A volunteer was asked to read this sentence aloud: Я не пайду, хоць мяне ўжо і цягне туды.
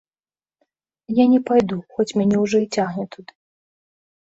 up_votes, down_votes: 0, 2